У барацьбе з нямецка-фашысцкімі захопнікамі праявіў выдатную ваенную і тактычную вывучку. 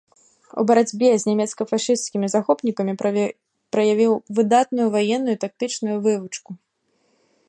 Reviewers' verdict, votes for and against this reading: rejected, 0, 2